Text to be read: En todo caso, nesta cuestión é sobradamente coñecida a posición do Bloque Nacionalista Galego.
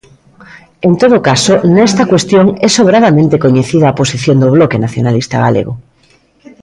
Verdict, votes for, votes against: accepted, 2, 0